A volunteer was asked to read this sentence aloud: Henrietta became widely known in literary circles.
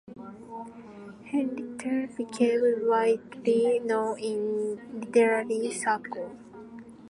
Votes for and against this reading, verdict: 1, 2, rejected